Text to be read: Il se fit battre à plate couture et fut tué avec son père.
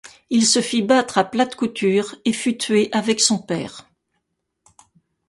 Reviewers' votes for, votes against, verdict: 2, 0, accepted